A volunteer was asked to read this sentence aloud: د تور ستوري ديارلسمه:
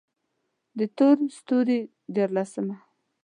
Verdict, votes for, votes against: accepted, 2, 0